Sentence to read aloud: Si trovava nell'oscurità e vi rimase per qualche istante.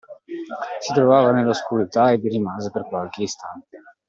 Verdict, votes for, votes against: accepted, 2, 0